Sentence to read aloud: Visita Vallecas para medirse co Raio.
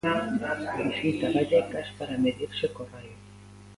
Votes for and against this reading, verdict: 0, 2, rejected